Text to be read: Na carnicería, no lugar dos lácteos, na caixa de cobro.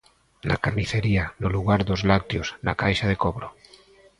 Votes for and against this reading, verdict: 0, 2, rejected